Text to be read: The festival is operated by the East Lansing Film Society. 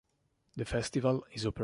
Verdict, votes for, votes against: rejected, 0, 2